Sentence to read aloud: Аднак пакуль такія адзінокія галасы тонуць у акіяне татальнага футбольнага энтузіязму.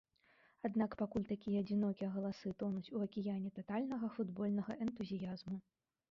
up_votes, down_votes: 1, 2